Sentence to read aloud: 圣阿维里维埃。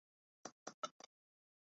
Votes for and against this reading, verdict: 0, 2, rejected